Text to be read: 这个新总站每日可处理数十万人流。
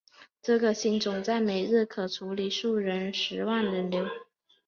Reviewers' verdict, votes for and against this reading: rejected, 2, 3